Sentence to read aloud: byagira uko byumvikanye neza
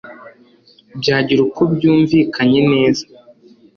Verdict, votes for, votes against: accepted, 2, 0